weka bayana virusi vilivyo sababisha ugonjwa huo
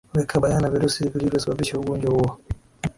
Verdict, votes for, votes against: accepted, 2, 0